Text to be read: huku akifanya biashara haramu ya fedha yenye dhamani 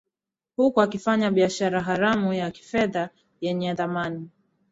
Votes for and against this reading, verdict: 0, 2, rejected